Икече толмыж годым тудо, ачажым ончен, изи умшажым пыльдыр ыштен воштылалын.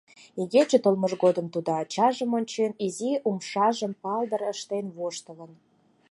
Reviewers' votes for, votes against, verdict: 2, 4, rejected